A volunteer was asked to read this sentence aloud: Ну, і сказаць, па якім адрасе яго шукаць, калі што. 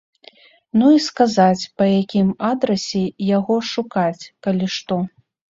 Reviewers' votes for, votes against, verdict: 2, 0, accepted